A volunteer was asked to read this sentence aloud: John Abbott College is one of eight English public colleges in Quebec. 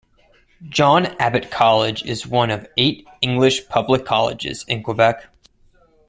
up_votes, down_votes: 2, 0